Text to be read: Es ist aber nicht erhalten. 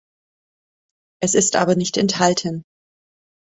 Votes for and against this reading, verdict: 1, 2, rejected